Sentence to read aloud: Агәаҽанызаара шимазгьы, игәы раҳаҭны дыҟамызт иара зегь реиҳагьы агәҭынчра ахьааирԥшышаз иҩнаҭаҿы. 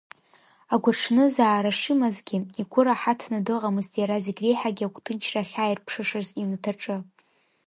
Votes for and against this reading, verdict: 0, 2, rejected